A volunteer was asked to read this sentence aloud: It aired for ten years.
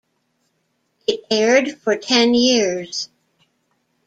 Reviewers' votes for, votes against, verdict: 2, 1, accepted